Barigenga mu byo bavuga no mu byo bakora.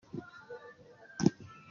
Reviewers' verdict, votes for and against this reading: rejected, 0, 2